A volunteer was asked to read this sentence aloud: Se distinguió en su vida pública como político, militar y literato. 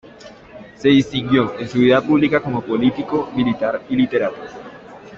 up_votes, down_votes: 2, 0